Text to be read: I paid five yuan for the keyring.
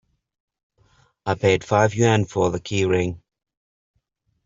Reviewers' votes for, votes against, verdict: 2, 1, accepted